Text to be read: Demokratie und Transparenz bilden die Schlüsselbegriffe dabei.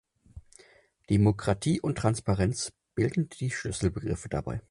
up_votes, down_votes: 6, 0